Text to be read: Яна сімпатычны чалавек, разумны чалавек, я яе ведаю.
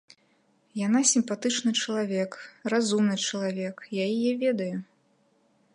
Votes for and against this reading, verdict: 1, 2, rejected